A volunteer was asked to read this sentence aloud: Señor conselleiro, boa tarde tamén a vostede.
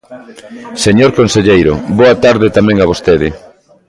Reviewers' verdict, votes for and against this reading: rejected, 1, 2